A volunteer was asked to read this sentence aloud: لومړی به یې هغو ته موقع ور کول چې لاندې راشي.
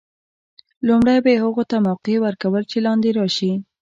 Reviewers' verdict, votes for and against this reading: accepted, 2, 1